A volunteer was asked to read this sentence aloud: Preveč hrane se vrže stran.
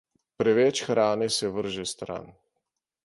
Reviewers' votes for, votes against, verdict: 2, 0, accepted